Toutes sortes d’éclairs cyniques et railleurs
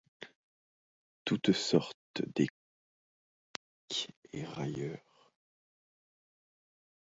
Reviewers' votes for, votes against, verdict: 0, 2, rejected